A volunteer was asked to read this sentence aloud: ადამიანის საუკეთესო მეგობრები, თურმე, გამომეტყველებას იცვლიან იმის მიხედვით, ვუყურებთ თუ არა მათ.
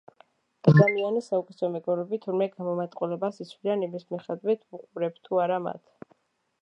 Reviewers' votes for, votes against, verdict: 1, 2, rejected